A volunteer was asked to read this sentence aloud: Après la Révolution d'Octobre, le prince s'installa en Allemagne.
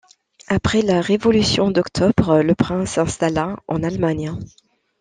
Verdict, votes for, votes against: accepted, 2, 0